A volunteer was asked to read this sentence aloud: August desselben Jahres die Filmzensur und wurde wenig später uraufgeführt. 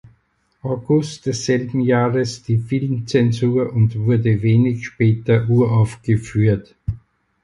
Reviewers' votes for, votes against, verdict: 4, 2, accepted